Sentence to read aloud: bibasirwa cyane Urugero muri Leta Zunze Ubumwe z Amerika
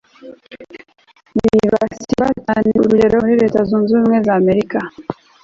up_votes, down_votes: 0, 2